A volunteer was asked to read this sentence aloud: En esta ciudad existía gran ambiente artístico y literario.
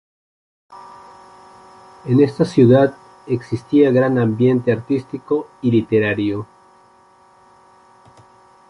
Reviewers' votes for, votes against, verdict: 0, 3, rejected